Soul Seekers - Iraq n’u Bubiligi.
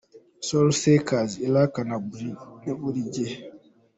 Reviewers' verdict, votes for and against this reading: accepted, 2, 1